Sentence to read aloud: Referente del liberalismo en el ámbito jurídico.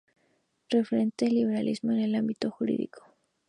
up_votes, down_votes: 0, 2